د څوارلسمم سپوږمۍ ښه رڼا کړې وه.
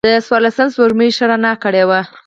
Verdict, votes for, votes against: accepted, 4, 2